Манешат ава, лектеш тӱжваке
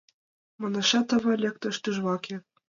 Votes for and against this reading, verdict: 2, 1, accepted